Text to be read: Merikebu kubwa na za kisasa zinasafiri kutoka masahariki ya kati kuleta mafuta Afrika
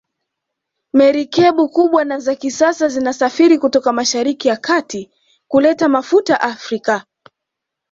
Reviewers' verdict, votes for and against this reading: accepted, 2, 0